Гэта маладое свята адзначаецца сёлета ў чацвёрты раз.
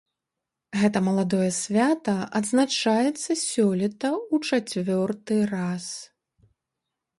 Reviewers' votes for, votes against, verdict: 1, 2, rejected